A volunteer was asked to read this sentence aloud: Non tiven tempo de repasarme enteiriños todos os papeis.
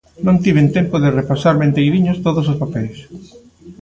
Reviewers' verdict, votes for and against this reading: rejected, 1, 2